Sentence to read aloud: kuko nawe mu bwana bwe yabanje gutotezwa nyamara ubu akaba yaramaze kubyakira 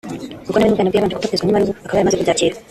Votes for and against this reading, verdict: 0, 2, rejected